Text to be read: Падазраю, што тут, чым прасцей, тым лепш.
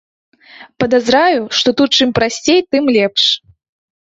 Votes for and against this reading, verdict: 0, 2, rejected